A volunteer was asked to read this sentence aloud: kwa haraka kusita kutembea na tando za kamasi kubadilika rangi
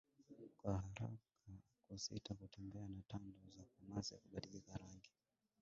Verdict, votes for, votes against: rejected, 0, 2